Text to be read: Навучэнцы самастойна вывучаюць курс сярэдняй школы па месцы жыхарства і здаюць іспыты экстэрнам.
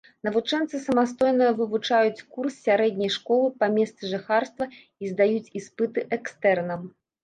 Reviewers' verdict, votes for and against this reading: accepted, 2, 0